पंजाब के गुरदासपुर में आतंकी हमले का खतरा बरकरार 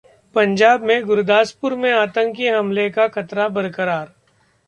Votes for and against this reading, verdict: 1, 2, rejected